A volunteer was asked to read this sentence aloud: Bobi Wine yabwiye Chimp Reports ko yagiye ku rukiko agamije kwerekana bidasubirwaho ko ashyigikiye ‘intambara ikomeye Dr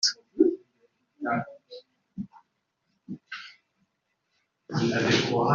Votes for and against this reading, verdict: 0, 2, rejected